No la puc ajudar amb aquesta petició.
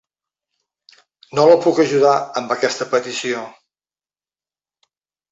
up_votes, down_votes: 3, 0